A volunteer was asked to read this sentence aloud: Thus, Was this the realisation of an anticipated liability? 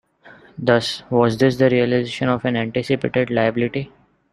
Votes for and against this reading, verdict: 0, 2, rejected